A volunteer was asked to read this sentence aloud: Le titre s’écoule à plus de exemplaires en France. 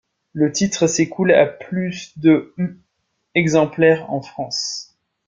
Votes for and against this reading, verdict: 1, 2, rejected